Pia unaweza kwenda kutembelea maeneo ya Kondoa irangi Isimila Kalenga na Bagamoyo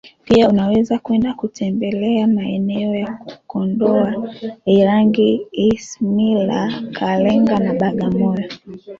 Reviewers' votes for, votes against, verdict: 2, 0, accepted